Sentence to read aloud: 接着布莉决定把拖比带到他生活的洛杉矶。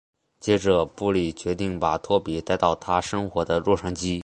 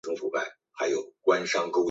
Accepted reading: first